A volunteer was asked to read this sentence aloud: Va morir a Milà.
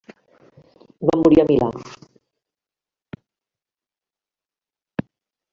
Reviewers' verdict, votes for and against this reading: rejected, 1, 2